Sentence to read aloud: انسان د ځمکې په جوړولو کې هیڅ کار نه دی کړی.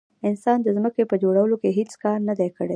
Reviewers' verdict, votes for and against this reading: accepted, 2, 0